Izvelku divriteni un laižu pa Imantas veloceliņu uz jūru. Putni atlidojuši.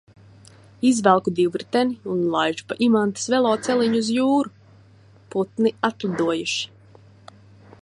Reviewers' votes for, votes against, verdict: 2, 0, accepted